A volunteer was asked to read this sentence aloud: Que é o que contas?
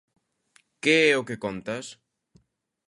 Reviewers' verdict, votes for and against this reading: accepted, 2, 0